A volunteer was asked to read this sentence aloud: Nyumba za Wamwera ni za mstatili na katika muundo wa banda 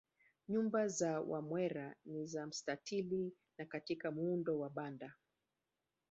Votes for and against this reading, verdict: 1, 2, rejected